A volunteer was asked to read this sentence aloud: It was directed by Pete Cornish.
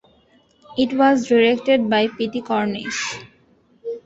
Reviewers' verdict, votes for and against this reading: rejected, 0, 2